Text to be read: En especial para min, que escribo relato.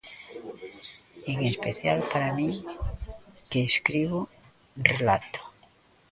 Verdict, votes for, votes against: rejected, 0, 2